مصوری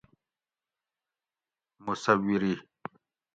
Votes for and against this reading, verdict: 2, 0, accepted